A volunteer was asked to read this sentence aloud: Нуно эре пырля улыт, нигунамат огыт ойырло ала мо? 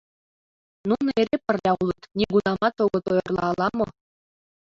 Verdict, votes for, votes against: rejected, 1, 2